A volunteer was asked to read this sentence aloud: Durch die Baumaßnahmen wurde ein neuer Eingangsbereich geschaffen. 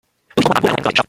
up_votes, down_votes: 0, 2